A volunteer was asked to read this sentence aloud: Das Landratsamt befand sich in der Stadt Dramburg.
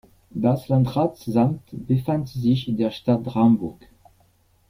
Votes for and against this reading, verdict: 0, 2, rejected